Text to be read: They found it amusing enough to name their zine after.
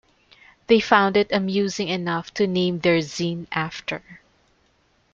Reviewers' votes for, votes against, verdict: 2, 0, accepted